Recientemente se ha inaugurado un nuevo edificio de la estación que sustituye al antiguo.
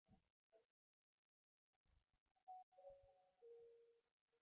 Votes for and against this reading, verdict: 0, 2, rejected